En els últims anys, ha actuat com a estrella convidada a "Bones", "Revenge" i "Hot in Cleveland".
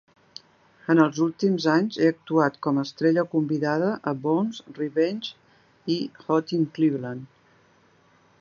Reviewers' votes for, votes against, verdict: 1, 3, rejected